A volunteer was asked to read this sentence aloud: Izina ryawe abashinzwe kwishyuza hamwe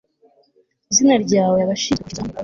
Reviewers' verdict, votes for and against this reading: rejected, 1, 2